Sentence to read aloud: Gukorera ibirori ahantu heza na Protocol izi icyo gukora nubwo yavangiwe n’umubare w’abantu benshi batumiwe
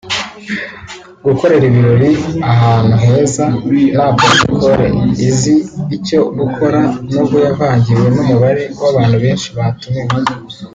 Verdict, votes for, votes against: accepted, 2, 0